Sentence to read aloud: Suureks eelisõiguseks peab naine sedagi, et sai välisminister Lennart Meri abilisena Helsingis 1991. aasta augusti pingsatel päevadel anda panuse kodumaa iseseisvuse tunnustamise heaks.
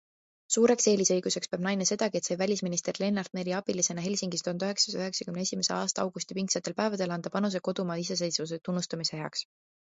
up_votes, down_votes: 0, 2